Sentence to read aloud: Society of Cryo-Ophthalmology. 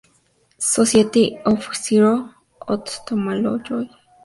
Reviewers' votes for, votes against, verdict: 0, 4, rejected